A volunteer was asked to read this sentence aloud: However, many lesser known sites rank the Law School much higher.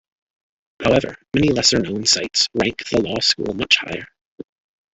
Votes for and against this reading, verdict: 0, 2, rejected